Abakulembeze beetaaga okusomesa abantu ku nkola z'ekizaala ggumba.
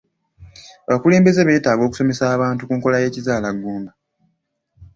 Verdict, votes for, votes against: accepted, 2, 1